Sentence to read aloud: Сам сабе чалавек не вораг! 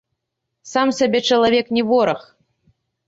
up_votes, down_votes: 0, 2